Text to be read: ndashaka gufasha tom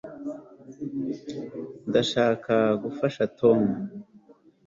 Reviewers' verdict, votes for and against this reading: accepted, 2, 0